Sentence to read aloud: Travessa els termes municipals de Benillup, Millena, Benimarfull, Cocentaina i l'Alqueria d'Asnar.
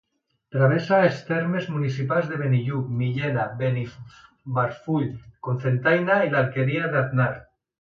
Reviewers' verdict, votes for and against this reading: rejected, 0, 2